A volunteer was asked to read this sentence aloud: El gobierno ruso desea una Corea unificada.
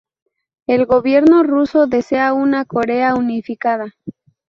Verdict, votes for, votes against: rejected, 0, 2